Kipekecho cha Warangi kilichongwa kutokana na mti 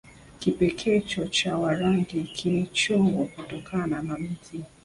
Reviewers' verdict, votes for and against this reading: accepted, 2, 0